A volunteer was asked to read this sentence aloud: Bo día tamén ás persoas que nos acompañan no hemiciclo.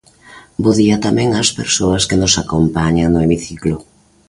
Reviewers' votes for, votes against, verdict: 2, 0, accepted